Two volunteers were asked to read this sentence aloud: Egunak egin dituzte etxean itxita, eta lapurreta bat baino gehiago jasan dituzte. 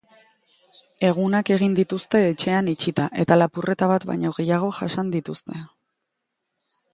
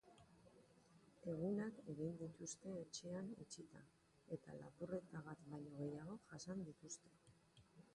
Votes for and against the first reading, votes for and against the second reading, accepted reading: 3, 0, 3, 4, first